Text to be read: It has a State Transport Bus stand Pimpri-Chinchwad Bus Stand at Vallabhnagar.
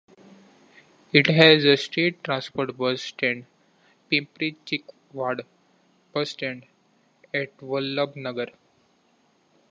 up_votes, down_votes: 2, 1